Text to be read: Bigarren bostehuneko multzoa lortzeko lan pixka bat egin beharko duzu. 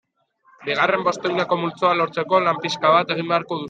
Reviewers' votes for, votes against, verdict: 0, 2, rejected